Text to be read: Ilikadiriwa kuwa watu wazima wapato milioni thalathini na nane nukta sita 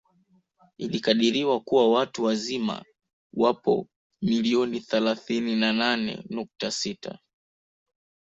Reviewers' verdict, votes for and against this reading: rejected, 1, 2